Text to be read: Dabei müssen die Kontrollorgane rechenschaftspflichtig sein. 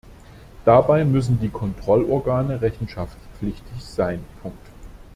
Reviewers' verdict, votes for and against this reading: rejected, 0, 2